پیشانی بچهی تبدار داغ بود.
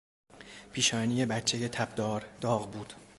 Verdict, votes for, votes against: accepted, 2, 0